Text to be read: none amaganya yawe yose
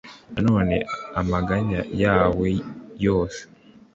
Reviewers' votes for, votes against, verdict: 2, 0, accepted